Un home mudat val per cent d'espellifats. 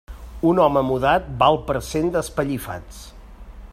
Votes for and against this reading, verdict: 2, 0, accepted